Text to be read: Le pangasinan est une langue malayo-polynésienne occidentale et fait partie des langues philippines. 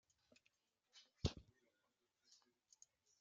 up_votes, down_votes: 0, 2